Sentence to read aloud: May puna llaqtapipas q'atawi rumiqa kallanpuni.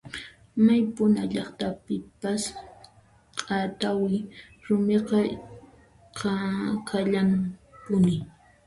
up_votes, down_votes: 1, 2